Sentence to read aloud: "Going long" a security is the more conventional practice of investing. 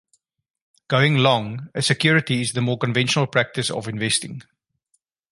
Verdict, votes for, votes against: accepted, 2, 0